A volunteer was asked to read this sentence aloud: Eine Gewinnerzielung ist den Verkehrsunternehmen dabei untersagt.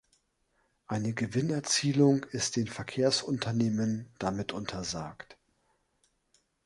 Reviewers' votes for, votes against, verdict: 1, 3, rejected